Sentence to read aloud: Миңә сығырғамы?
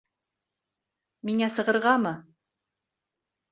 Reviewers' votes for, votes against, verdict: 1, 2, rejected